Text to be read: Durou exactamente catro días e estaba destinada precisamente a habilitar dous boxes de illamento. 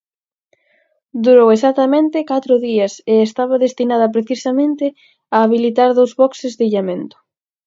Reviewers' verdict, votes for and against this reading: accepted, 4, 0